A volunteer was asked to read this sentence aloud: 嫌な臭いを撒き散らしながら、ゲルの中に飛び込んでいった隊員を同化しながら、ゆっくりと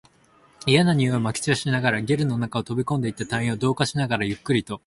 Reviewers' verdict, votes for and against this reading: accepted, 19, 4